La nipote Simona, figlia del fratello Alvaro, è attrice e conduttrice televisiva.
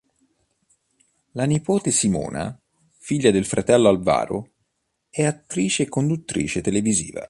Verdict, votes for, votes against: accepted, 3, 0